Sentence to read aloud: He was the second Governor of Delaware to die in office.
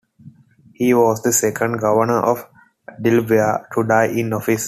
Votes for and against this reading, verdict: 2, 0, accepted